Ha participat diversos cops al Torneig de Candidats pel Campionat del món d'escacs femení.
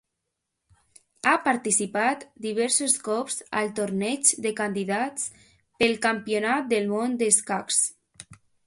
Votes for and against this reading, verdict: 0, 2, rejected